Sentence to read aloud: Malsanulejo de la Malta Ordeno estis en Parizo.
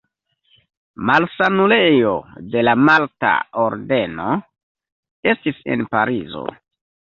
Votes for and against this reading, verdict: 2, 0, accepted